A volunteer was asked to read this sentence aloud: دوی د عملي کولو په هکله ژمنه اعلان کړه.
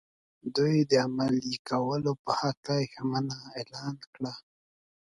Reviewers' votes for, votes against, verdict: 4, 0, accepted